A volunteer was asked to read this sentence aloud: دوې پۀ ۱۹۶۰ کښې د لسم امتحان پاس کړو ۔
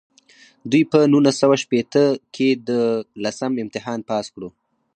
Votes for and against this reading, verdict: 0, 2, rejected